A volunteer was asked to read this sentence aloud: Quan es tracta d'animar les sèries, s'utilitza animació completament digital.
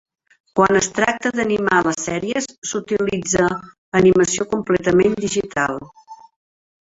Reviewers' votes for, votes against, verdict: 3, 0, accepted